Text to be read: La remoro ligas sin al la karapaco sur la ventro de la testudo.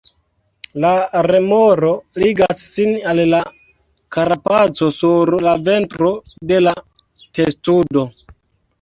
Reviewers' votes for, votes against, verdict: 1, 3, rejected